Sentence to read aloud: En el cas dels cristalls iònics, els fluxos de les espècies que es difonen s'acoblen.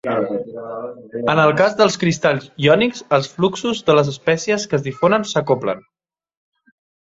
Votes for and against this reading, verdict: 1, 2, rejected